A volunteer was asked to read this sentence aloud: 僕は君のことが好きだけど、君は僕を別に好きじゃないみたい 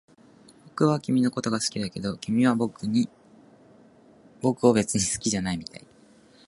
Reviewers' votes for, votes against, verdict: 2, 1, accepted